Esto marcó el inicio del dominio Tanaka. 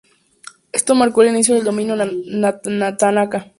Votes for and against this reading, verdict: 0, 2, rejected